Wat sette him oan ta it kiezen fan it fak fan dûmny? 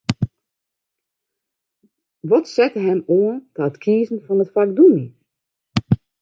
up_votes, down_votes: 1, 2